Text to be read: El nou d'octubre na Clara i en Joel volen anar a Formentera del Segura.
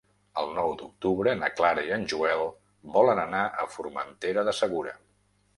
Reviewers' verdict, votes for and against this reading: rejected, 1, 2